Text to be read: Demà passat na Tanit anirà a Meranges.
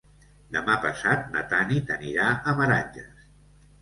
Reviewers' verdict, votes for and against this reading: accepted, 2, 0